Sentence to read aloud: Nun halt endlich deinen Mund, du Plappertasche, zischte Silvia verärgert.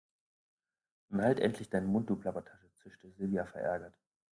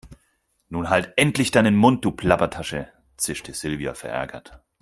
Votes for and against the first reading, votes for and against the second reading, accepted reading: 1, 2, 4, 0, second